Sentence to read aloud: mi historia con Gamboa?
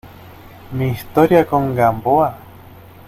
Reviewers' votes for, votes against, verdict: 2, 0, accepted